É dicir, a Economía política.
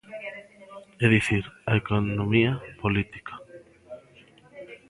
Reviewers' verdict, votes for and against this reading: rejected, 0, 2